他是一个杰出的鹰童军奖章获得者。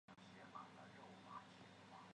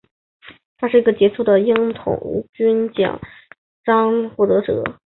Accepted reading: second